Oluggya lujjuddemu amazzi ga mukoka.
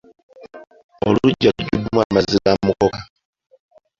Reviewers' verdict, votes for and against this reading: accepted, 2, 0